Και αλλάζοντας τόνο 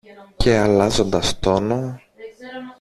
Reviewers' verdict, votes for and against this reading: accepted, 2, 0